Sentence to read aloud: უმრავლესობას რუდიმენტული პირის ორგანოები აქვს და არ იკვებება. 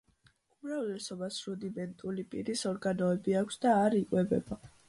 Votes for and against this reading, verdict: 2, 0, accepted